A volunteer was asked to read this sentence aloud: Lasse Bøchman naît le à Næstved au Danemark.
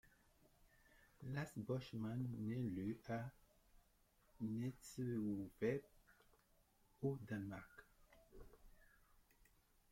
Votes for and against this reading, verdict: 1, 2, rejected